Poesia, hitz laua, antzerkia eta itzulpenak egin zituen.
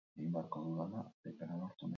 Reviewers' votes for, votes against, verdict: 0, 6, rejected